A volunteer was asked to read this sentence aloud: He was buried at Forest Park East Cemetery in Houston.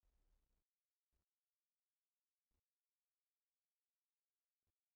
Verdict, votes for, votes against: rejected, 0, 2